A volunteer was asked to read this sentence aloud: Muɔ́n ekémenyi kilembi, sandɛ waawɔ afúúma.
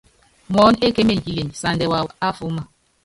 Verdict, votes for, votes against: rejected, 0, 2